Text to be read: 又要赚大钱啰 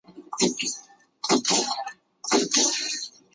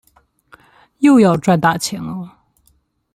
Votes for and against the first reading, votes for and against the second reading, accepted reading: 0, 3, 2, 0, second